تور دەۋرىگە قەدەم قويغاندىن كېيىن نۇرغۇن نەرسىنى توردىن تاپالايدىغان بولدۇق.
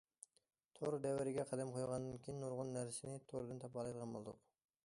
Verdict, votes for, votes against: accepted, 2, 0